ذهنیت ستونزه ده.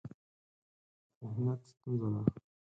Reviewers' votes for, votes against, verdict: 2, 4, rejected